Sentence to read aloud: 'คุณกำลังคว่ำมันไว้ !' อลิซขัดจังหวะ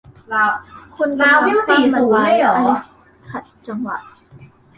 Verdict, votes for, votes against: rejected, 0, 2